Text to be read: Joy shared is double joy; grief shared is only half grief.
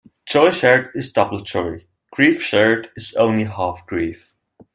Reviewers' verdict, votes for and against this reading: accepted, 2, 0